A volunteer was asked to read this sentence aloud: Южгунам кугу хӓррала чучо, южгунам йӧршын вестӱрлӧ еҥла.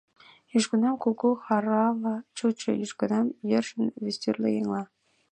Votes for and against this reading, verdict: 1, 3, rejected